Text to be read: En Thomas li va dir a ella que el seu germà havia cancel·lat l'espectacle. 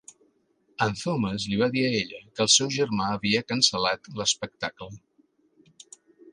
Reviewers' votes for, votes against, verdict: 4, 0, accepted